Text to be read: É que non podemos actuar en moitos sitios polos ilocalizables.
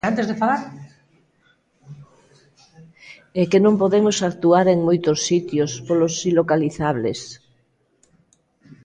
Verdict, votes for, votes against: rejected, 0, 2